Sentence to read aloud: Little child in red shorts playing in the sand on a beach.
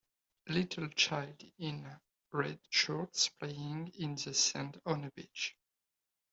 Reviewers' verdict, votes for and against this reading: accepted, 2, 1